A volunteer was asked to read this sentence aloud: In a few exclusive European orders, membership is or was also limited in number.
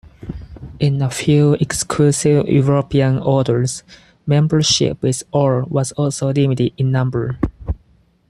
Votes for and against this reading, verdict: 4, 0, accepted